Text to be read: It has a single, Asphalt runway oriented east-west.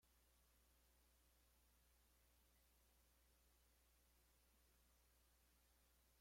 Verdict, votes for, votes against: rejected, 0, 2